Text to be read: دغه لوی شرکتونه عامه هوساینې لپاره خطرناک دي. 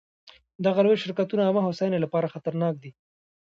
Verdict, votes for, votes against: rejected, 1, 2